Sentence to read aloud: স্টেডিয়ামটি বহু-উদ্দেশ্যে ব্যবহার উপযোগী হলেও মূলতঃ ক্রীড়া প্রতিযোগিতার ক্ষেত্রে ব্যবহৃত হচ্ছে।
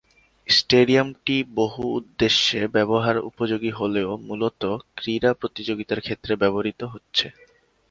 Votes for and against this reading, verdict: 2, 0, accepted